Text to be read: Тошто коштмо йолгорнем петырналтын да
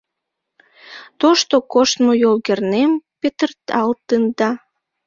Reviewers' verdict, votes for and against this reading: rejected, 1, 2